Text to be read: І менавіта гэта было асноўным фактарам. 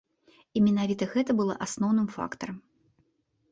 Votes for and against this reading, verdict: 1, 2, rejected